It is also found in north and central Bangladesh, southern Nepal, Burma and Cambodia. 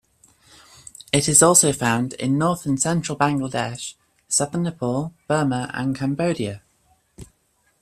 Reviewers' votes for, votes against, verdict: 2, 0, accepted